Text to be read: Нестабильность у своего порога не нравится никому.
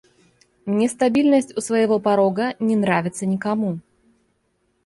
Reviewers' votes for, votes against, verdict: 0, 2, rejected